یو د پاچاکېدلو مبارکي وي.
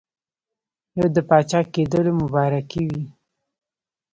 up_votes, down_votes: 2, 0